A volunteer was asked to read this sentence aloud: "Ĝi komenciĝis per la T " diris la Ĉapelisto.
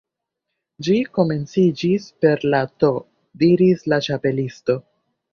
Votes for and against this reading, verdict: 2, 0, accepted